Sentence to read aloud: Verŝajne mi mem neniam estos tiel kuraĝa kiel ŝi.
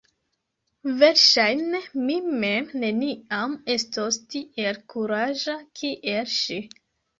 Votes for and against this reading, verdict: 1, 2, rejected